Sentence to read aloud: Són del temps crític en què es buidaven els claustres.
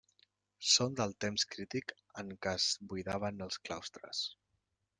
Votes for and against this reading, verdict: 1, 2, rejected